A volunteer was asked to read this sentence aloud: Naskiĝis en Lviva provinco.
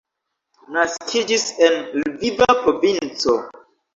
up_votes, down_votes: 1, 2